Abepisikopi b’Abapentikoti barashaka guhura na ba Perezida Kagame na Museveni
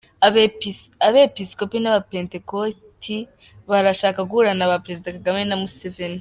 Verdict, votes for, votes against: rejected, 2, 3